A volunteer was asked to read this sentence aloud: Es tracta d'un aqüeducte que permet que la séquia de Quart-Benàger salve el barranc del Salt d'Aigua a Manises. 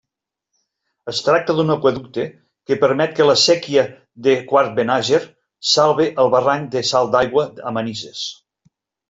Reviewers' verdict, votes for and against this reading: accepted, 2, 0